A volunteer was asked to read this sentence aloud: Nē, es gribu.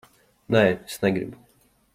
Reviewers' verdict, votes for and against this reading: rejected, 0, 2